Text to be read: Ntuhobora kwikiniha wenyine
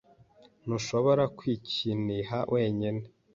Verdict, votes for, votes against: accepted, 2, 1